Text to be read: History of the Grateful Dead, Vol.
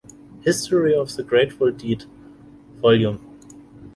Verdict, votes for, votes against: rejected, 0, 2